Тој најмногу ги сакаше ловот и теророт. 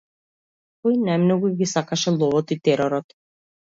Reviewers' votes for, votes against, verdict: 2, 0, accepted